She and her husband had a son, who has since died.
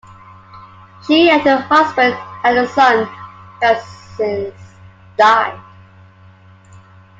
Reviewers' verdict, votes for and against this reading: accepted, 2, 0